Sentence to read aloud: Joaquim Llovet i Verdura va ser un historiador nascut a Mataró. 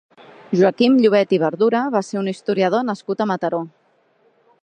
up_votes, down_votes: 3, 0